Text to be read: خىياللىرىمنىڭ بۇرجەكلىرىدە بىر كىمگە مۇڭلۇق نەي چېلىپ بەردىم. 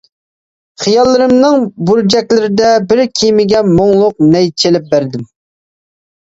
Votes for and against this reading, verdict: 0, 2, rejected